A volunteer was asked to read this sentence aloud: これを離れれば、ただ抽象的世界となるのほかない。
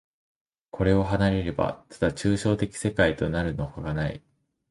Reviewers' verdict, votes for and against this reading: accepted, 2, 1